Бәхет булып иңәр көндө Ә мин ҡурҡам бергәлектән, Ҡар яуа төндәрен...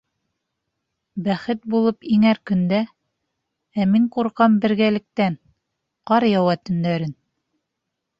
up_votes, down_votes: 1, 2